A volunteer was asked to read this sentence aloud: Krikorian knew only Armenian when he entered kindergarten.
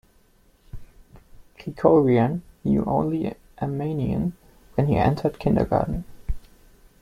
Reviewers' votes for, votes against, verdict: 2, 0, accepted